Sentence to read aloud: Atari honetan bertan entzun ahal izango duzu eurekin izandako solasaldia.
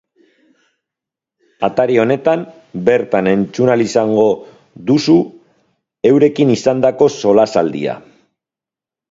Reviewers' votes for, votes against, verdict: 2, 3, rejected